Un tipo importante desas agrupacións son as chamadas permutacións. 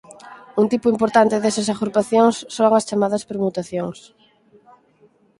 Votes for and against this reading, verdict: 6, 0, accepted